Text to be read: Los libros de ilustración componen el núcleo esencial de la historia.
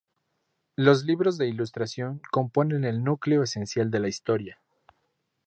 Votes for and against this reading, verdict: 0, 2, rejected